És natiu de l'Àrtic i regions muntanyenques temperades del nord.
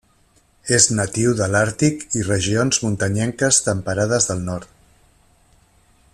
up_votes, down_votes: 3, 0